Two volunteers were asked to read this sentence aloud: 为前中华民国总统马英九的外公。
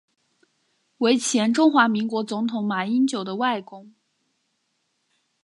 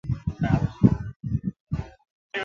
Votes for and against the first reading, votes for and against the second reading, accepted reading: 3, 1, 0, 2, first